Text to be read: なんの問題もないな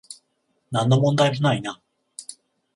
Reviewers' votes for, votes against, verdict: 14, 0, accepted